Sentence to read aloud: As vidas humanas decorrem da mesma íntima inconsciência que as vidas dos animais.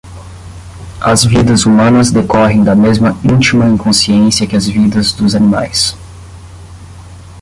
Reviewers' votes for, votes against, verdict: 10, 0, accepted